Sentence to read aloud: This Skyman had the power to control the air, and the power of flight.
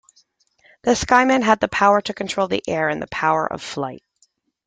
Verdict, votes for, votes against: accepted, 2, 1